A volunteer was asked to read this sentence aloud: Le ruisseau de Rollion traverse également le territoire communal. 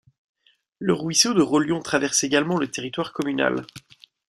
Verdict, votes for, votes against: rejected, 1, 2